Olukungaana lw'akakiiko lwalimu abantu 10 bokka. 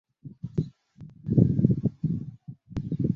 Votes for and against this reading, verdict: 0, 2, rejected